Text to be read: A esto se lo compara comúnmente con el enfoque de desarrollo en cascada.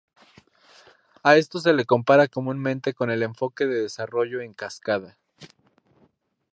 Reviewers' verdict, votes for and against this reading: accepted, 2, 0